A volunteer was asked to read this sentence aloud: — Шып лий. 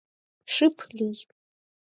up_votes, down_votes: 4, 6